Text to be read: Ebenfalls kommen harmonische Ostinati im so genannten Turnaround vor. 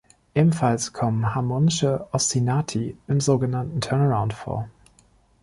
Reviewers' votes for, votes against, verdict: 2, 0, accepted